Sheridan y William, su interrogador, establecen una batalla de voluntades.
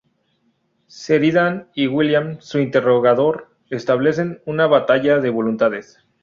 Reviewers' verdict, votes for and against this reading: rejected, 0, 4